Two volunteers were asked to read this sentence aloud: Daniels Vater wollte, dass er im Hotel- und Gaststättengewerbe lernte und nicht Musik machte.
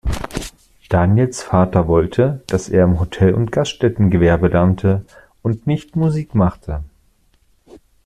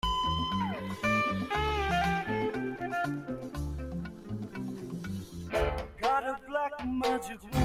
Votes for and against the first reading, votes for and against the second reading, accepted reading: 2, 0, 0, 2, first